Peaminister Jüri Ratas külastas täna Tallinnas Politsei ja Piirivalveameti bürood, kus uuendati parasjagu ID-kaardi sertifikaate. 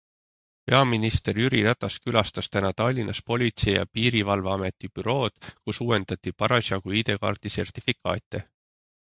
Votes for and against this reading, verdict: 3, 0, accepted